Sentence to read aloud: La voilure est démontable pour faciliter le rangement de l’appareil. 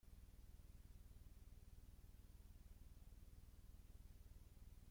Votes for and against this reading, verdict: 0, 2, rejected